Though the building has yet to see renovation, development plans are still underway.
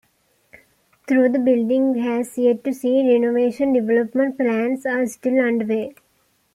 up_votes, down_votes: 2, 1